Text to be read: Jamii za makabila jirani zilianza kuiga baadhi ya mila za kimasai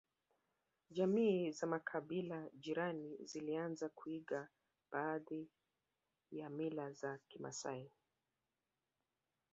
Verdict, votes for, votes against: rejected, 1, 2